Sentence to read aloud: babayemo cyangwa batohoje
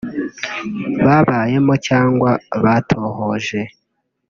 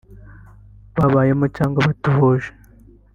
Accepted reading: first